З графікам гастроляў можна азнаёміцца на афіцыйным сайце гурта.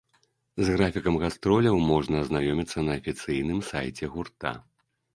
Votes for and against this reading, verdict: 2, 0, accepted